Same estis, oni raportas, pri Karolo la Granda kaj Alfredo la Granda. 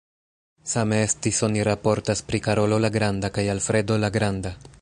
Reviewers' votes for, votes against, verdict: 2, 0, accepted